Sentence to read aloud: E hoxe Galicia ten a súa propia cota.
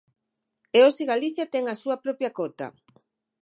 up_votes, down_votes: 6, 0